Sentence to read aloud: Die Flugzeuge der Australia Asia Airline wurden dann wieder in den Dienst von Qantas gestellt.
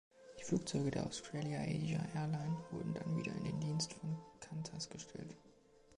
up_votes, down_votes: 2, 3